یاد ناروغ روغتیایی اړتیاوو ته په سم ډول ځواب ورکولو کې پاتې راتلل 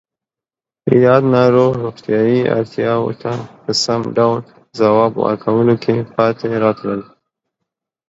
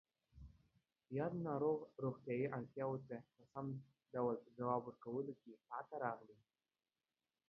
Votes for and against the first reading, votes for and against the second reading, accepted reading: 2, 0, 1, 2, first